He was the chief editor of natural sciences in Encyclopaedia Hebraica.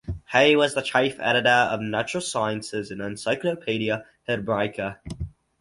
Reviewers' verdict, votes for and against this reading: accepted, 4, 2